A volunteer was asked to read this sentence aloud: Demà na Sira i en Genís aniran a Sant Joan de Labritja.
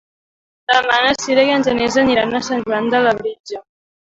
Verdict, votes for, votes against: accepted, 2, 1